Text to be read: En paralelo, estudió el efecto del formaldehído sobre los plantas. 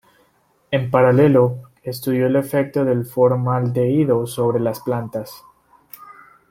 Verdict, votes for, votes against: accepted, 2, 0